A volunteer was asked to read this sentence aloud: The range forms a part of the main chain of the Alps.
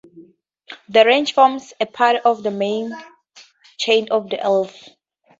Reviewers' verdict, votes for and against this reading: accepted, 2, 0